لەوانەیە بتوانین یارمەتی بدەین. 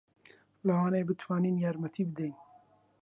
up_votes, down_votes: 2, 0